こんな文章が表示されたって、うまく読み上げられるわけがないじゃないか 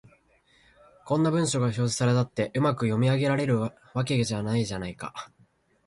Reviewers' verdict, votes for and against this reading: rejected, 2, 3